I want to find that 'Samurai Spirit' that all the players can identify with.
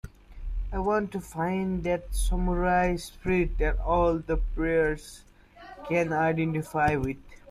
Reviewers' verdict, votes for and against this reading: accepted, 2, 0